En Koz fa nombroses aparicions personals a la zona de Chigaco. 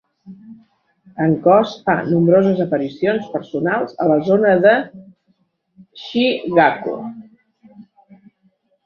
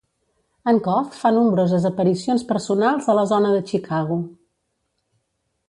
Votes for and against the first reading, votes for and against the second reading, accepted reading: 4, 1, 0, 2, first